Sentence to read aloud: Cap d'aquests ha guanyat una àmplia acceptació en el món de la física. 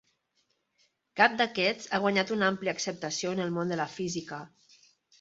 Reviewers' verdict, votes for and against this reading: accepted, 5, 0